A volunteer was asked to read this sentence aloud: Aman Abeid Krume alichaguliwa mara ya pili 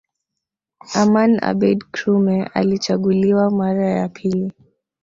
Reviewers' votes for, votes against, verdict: 0, 2, rejected